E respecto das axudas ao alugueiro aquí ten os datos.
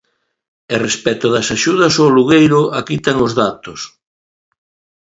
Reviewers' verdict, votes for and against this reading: accepted, 2, 0